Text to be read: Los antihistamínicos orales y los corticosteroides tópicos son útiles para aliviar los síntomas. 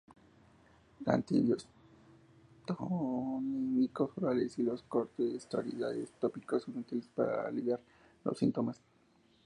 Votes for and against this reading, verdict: 0, 2, rejected